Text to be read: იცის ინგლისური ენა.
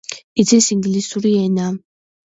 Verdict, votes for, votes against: accepted, 2, 0